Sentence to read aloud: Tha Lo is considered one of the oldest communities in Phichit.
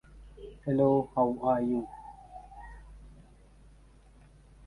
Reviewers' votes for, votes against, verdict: 0, 2, rejected